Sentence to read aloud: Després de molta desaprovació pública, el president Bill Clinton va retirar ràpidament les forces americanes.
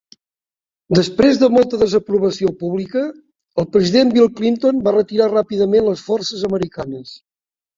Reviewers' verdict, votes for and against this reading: accepted, 2, 0